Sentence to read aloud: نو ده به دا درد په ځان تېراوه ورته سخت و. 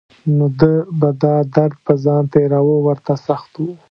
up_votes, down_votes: 3, 0